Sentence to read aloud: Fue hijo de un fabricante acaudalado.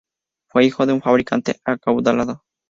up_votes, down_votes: 2, 0